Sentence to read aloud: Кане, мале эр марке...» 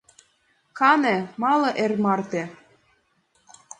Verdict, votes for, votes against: rejected, 2, 3